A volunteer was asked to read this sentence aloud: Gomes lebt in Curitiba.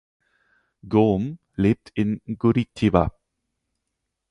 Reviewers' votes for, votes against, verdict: 2, 4, rejected